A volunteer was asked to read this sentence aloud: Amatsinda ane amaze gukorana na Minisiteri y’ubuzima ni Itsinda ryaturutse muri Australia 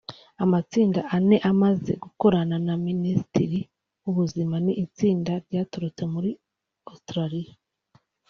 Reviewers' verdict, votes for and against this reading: rejected, 0, 2